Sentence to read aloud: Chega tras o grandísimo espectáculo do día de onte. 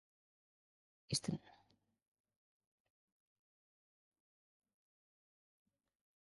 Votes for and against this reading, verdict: 0, 2, rejected